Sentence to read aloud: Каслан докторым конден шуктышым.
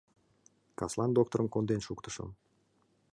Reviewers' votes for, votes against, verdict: 2, 0, accepted